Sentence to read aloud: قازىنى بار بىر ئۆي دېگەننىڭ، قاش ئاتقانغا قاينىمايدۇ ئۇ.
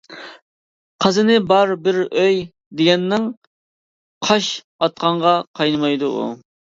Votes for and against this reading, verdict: 2, 0, accepted